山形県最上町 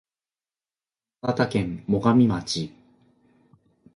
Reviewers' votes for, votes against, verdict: 1, 2, rejected